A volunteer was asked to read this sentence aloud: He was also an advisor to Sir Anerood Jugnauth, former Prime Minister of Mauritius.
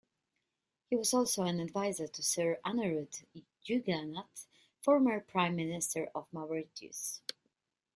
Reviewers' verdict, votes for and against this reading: rejected, 1, 2